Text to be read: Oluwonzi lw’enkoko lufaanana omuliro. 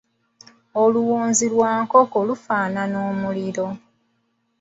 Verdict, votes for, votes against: rejected, 0, 2